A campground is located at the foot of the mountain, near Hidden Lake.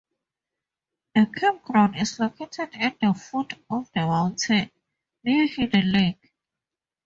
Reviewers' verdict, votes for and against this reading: accepted, 2, 0